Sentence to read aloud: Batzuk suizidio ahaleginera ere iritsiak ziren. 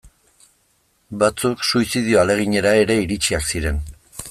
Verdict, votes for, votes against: accepted, 2, 0